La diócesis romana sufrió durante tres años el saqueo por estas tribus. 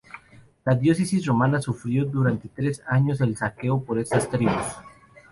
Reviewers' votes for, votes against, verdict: 2, 2, rejected